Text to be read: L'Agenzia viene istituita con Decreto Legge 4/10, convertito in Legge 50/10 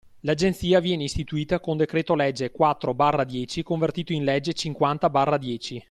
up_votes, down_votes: 0, 2